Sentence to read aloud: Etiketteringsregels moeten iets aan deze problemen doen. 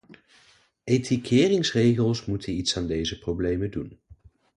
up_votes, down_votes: 0, 2